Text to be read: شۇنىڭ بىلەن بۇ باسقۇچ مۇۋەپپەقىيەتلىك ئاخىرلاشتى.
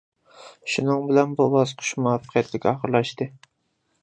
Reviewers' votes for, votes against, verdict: 2, 1, accepted